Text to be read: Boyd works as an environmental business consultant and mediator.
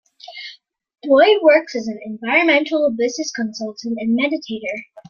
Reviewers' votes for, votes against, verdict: 1, 2, rejected